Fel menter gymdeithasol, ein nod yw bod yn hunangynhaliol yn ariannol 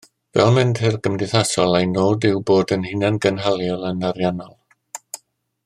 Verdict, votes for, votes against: accepted, 2, 1